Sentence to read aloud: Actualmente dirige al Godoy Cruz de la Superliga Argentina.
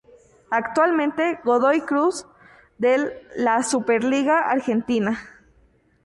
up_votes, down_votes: 0, 2